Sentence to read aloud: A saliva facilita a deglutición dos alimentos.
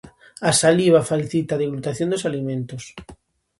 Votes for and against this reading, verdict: 0, 2, rejected